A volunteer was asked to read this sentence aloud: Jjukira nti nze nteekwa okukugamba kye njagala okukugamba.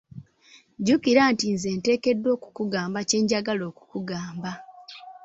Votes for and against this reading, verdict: 1, 2, rejected